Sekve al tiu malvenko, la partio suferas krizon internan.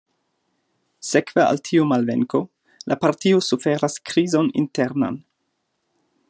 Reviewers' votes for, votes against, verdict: 2, 0, accepted